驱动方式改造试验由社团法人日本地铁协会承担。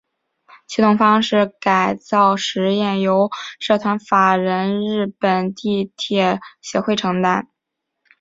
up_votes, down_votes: 2, 0